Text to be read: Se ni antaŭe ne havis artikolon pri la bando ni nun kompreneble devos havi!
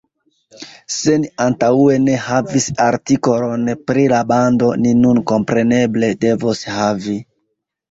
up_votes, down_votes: 1, 2